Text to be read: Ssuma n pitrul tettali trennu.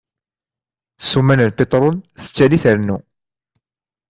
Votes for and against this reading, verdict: 2, 0, accepted